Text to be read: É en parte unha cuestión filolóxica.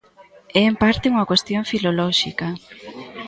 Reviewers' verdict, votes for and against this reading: accepted, 2, 1